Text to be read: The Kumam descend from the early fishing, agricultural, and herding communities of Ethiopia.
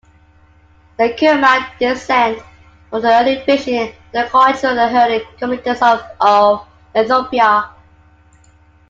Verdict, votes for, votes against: rejected, 0, 2